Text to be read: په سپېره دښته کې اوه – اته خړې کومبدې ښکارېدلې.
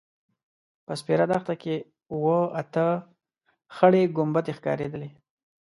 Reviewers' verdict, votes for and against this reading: accepted, 2, 0